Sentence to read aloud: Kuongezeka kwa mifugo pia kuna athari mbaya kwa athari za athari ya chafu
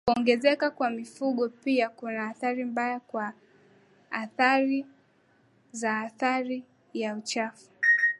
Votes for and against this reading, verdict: 2, 1, accepted